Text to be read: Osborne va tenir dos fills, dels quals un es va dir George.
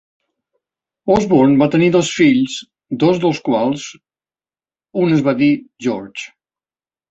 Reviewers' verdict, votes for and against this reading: rejected, 0, 2